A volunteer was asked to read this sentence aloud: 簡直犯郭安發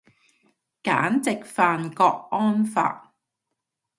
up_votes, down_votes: 2, 0